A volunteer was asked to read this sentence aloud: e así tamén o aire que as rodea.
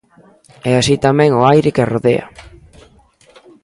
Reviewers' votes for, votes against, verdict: 2, 0, accepted